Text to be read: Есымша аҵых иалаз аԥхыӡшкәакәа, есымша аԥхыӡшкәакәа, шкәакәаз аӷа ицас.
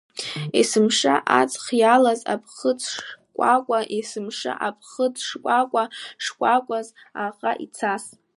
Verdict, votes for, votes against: accepted, 2, 1